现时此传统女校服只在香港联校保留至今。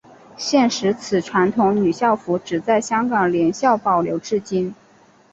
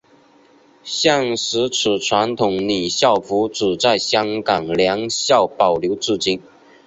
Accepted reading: first